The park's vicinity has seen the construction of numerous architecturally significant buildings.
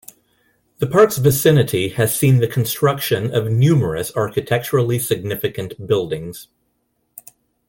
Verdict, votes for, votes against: accepted, 2, 0